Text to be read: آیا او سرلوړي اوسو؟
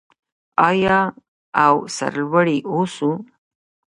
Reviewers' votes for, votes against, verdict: 0, 2, rejected